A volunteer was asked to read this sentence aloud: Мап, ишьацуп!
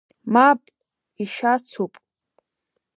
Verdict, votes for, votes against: accepted, 2, 0